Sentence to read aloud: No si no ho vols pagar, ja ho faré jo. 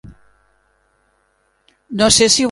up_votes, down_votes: 0, 2